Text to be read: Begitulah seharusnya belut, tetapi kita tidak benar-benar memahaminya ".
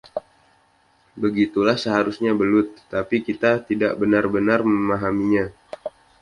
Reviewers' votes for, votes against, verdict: 2, 0, accepted